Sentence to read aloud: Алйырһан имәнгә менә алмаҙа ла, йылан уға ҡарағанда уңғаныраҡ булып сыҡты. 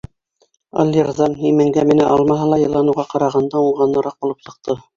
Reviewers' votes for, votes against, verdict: 0, 2, rejected